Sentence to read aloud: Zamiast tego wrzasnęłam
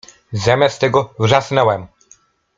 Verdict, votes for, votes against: rejected, 0, 2